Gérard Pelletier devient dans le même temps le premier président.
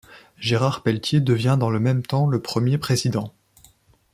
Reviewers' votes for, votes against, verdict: 2, 0, accepted